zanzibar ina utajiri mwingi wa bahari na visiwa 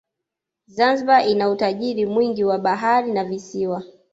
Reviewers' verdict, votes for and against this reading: accepted, 2, 0